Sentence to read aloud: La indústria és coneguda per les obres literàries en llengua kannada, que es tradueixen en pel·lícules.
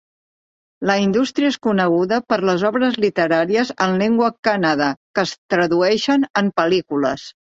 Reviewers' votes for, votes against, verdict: 2, 0, accepted